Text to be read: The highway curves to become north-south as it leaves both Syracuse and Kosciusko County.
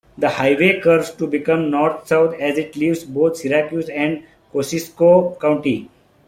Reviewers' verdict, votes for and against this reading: accepted, 2, 0